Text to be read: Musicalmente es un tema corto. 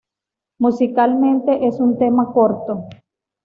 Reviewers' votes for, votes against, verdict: 2, 0, accepted